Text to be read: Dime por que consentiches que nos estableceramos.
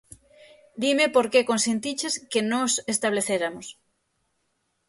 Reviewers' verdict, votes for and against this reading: rejected, 0, 6